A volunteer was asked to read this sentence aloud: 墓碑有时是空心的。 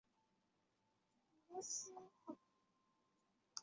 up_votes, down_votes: 0, 3